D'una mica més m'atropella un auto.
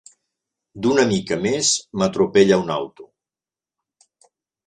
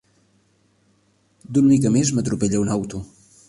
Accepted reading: first